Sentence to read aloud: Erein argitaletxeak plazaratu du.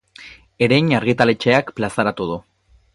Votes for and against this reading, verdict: 8, 0, accepted